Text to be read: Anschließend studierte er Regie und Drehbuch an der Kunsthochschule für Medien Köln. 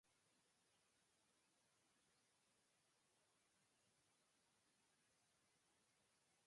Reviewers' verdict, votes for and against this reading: rejected, 0, 2